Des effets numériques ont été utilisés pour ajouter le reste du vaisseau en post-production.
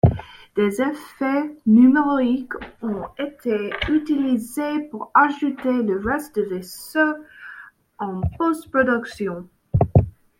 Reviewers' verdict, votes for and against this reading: rejected, 0, 2